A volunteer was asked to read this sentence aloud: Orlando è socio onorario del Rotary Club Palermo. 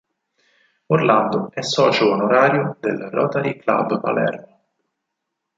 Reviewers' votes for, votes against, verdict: 6, 2, accepted